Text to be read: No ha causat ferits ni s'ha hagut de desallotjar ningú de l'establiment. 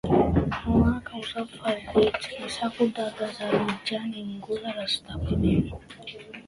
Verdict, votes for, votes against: rejected, 0, 2